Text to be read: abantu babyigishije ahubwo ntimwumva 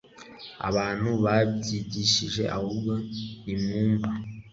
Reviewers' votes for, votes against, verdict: 2, 0, accepted